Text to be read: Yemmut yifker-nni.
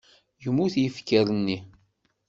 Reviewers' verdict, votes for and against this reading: accepted, 2, 0